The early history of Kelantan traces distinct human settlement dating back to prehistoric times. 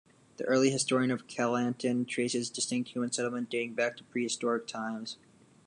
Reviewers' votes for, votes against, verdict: 1, 2, rejected